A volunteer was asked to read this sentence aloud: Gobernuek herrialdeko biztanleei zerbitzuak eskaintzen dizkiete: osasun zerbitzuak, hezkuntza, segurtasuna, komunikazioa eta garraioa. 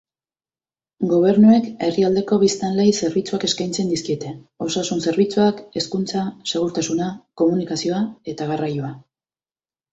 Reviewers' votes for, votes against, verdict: 3, 0, accepted